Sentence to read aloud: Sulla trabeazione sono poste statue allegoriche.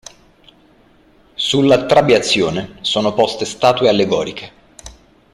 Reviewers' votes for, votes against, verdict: 2, 0, accepted